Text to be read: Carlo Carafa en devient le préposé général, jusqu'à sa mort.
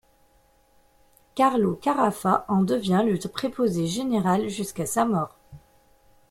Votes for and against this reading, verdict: 1, 2, rejected